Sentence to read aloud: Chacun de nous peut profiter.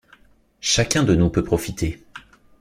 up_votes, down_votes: 2, 0